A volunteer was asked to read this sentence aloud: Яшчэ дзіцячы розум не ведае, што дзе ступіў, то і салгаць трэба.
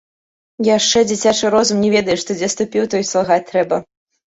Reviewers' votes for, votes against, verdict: 0, 2, rejected